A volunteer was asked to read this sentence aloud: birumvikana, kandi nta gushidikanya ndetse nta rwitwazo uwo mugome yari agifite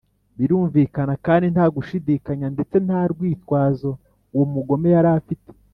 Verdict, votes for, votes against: accepted, 2, 0